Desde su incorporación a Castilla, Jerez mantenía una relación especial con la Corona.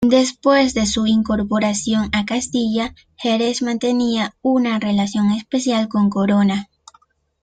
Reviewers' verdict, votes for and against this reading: rejected, 0, 2